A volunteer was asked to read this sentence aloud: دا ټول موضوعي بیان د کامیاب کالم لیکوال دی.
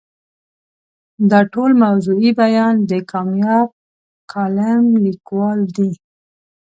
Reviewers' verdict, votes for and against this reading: accepted, 2, 0